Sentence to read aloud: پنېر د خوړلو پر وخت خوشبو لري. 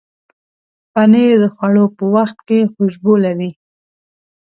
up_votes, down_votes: 2, 0